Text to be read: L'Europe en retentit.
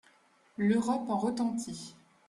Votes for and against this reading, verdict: 2, 0, accepted